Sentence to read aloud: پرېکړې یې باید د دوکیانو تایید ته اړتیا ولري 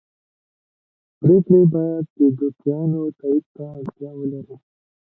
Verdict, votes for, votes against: rejected, 0, 2